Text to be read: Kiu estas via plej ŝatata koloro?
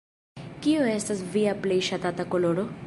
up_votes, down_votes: 3, 0